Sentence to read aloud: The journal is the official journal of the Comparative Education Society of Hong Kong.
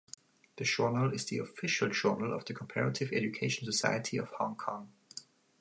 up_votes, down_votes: 2, 0